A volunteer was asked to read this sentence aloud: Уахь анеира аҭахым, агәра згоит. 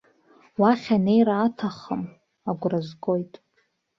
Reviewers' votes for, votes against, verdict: 2, 0, accepted